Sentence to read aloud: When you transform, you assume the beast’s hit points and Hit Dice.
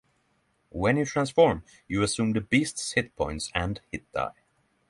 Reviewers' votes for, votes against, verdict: 3, 3, rejected